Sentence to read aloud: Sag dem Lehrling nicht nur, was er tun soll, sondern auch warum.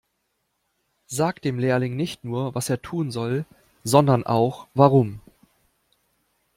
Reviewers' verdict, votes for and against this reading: accepted, 2, 0